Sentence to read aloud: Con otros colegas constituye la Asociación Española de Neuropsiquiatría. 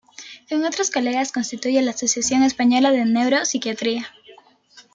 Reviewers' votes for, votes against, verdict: 2, 0, accepted